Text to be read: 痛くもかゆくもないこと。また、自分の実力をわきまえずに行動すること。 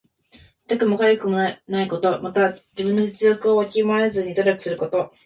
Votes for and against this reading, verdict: 1, 2, rejected